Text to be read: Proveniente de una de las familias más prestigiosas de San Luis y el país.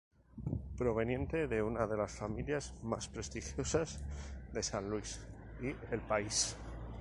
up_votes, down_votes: 2, 0